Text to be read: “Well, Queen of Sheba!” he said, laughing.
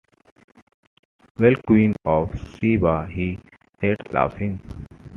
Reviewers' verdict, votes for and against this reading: accepted, 2, 0